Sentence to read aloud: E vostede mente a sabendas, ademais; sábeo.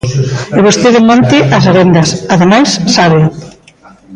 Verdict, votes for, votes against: rejected, 1, 2